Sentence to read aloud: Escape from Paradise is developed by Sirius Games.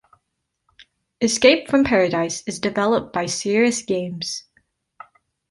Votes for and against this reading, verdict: 2, 0, accepted